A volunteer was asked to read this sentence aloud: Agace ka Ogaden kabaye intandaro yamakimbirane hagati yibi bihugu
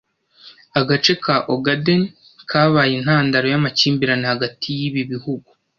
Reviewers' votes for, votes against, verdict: 2, 0, accepted